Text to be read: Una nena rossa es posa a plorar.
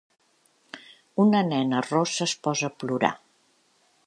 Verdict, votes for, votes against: accepted, 2, 0